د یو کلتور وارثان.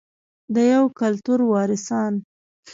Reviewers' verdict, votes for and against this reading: rejected, 1, 2